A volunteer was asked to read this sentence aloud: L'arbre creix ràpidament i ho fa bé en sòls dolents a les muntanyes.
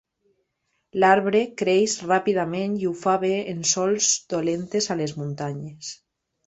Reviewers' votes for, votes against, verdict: 0, 2, rejected